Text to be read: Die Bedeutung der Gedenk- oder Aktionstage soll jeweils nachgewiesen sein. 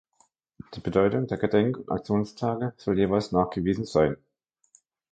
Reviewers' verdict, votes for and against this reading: accepted, 2, 1